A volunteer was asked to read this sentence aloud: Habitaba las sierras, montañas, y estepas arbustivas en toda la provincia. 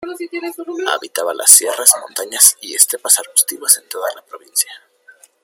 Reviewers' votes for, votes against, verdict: 1, 2, rejected